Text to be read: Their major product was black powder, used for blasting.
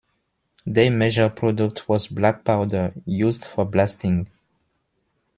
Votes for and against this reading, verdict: 2, 0, accepted